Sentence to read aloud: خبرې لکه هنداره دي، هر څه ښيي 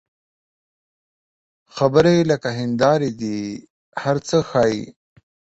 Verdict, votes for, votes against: accepted, 14, 0